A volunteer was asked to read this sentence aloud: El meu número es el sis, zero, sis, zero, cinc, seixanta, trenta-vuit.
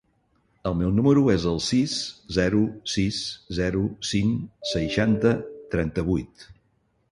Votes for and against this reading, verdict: 5, 0, accepted